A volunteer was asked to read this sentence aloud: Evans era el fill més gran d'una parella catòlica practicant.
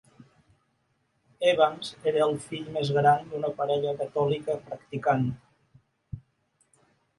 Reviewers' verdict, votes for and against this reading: accepted, 3, 0